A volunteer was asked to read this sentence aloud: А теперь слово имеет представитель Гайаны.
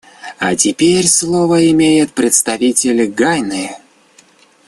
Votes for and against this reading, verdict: 0, 2, rejected